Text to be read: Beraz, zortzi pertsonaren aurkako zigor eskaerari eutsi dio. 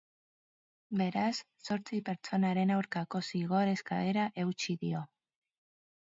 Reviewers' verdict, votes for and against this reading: rejected, 0, 2